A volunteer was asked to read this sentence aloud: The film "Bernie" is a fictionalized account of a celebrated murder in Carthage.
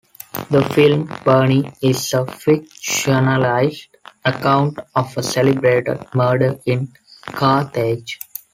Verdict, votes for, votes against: rejected, 2, 3